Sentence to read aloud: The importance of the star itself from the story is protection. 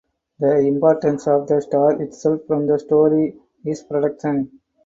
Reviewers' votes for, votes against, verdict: 4, 2, accepted